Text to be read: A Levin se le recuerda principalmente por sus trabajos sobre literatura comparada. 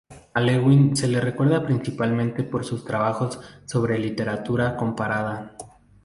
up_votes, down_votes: 0, 2